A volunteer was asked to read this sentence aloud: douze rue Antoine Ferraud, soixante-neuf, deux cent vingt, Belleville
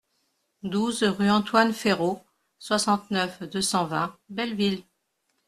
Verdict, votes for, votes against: accepted, 2, 0